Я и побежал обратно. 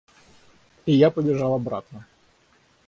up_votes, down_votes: 0, 6